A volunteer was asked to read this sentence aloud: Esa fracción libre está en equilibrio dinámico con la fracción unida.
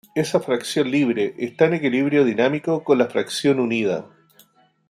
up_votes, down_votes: 2, 0